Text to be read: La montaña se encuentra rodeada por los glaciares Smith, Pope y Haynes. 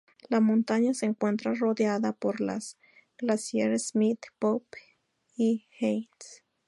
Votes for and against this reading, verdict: 2, 0, accepted